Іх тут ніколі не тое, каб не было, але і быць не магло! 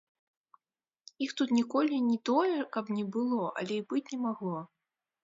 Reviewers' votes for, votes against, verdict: 1, 2, rejected